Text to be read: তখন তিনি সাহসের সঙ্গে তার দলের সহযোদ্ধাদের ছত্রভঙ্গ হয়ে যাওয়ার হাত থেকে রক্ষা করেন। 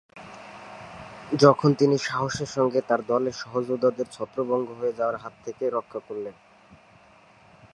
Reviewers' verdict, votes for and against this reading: rejected, 0, 2